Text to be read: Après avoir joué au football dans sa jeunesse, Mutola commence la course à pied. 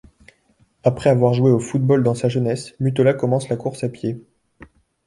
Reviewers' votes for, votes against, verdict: 2, 0, accepted